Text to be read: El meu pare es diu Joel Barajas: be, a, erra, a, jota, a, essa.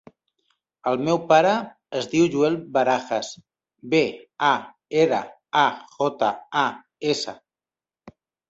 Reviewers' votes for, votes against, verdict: 0, 2, rejected